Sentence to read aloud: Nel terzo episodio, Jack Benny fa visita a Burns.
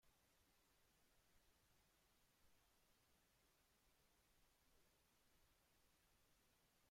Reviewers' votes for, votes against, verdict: 0, 2, rejected